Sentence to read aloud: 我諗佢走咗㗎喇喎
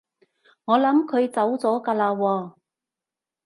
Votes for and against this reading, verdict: 2, 0, accepted